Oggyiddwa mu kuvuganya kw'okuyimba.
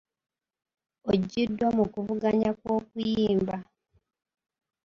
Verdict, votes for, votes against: accepted, 2, 0